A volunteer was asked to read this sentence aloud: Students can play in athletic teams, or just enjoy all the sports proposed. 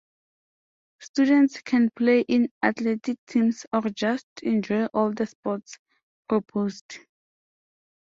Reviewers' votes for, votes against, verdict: 2, 0, accepted